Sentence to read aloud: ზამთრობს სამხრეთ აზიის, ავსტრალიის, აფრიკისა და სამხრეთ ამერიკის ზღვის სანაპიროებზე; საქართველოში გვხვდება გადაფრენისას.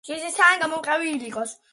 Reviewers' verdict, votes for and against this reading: rejected, 1, 2